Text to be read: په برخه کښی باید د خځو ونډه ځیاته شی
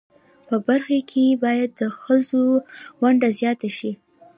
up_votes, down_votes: 2, 0